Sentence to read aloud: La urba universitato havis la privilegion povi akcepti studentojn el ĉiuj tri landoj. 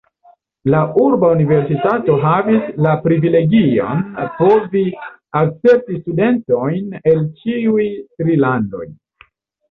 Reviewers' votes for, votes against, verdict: 1, 2, rejected